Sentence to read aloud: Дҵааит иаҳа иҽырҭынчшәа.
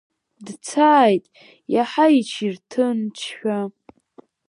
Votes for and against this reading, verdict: 2, 3, rejected